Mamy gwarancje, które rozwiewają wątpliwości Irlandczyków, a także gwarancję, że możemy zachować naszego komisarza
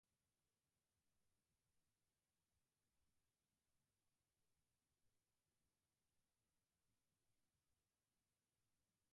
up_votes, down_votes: 0, 4